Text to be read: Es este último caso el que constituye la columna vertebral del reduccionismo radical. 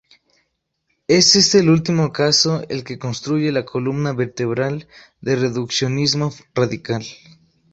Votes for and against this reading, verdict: 0, 2, rejected